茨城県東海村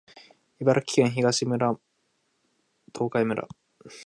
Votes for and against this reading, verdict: 2, 3, rejected